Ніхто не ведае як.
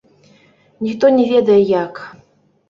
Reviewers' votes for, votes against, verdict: 1, 2, rejected